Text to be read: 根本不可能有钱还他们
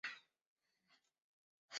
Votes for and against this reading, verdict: 1, 2, rejected